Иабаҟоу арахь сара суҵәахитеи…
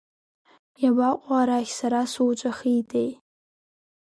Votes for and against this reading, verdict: 2, 0, accepted